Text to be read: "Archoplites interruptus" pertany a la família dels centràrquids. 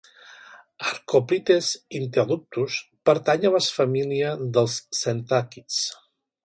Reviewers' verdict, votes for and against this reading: rejected, 2, 3